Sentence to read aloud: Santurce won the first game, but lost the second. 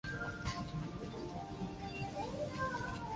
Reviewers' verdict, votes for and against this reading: rejected, 0, 2